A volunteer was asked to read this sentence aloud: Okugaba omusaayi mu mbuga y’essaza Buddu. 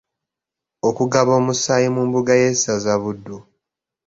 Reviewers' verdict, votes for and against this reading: accepted, 2, 0